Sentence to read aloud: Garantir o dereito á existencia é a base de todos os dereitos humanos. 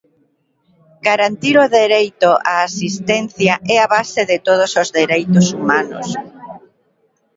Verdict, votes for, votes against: rejected, 1, 2